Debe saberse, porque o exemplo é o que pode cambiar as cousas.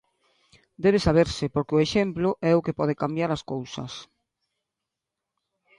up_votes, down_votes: 2, 0